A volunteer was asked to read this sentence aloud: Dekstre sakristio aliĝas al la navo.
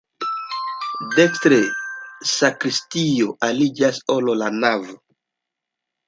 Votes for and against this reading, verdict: 2, 1, accepted